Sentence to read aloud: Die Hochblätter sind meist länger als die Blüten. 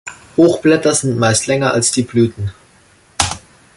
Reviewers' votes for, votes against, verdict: 0, 2, rejected